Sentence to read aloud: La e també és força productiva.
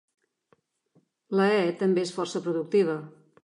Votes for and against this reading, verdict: 3, 0, accepted